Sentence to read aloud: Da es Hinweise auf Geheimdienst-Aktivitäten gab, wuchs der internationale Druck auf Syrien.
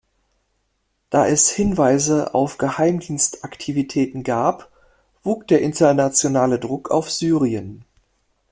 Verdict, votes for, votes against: rejected, 1, 2